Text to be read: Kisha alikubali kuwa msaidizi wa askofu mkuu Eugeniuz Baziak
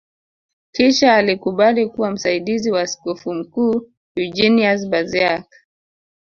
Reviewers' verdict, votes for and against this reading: accepted, 2, 0